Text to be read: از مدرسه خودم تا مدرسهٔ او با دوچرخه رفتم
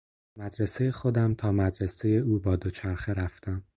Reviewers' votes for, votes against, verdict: 0, 4, rejected